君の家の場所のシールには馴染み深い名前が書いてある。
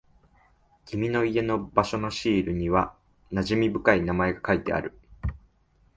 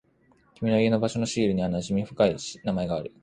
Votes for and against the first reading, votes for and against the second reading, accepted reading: 3, 0, 1, 2, first